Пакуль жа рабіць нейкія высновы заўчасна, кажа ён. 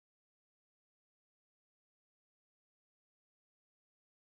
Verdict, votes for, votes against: rejected, 1, 2